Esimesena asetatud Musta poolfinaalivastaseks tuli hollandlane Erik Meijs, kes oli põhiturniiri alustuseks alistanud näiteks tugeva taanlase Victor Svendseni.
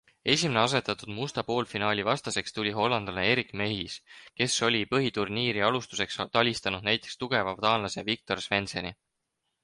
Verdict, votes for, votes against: rejected, 2, 4